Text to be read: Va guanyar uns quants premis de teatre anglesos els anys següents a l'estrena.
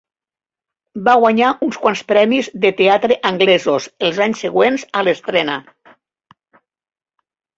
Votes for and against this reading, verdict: 3, 0, accepted